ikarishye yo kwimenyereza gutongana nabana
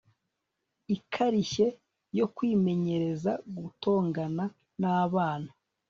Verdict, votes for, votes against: rejected, 1, 2